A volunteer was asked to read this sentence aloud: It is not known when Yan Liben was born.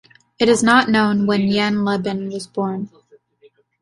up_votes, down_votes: 0, 2